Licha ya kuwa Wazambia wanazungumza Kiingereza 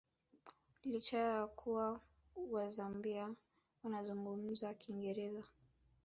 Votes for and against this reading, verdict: 1, 2, rejected